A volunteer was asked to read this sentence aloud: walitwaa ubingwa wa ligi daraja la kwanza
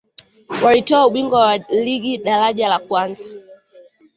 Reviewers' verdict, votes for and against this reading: accepted, 2, 1